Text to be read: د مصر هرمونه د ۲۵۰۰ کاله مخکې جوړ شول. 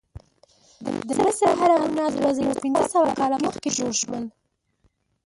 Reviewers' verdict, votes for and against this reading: rejected, 0, 2